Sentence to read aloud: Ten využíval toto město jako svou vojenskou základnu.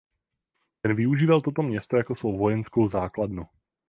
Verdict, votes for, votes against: rejected, 0, 4